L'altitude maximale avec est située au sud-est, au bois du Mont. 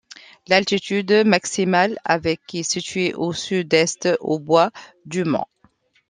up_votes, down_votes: 2, 0